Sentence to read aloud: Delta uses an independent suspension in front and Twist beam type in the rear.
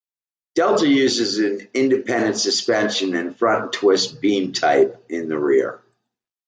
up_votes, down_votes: 2, 0